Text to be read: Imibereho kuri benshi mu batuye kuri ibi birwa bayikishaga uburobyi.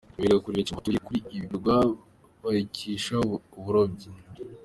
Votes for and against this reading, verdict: 0, 3, rejected